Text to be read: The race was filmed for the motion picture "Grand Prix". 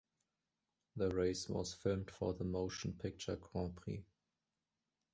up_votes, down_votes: 2, 1